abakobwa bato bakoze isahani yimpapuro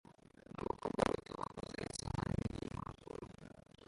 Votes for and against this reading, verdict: 0, 2, rejected